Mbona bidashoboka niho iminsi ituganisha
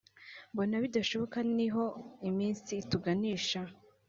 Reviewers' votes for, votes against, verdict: 2, 0, accepted